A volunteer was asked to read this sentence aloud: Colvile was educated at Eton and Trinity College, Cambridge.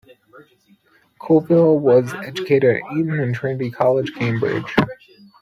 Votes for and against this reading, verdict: 0, 2, rejected